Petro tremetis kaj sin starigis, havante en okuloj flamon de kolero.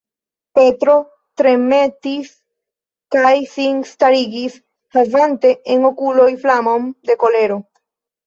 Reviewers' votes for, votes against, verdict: 1, 2, rejected